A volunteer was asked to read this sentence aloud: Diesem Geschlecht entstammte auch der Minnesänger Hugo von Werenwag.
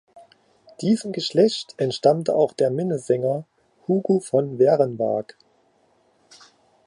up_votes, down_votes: 1, 2